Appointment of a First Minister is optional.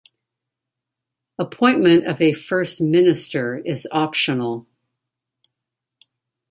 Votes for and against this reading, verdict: 2, 0, accepted